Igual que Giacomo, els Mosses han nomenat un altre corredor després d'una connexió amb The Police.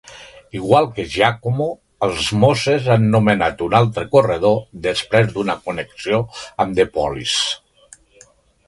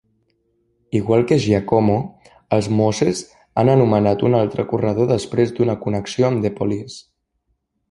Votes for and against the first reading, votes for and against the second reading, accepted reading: 2, 0, 0, 2, first